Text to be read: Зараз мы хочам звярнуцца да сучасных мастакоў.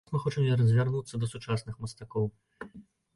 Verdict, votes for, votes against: rejected, 1, 2